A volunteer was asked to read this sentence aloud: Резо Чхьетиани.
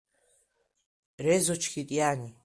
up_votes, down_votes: 2, 0